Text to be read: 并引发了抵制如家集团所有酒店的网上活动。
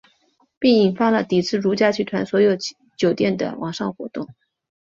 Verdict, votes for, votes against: accepted, 2, 0